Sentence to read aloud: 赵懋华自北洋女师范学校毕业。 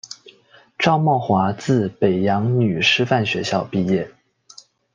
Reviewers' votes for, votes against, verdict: 2, 0, accepted